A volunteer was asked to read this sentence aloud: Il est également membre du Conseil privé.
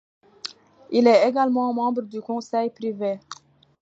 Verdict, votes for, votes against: accepted, 2, 0